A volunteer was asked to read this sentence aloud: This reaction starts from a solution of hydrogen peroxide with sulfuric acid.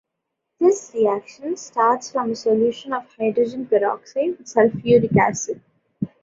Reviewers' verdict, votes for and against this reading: rejected, 1, 3